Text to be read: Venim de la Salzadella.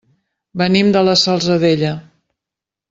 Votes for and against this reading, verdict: 2, 0, accepted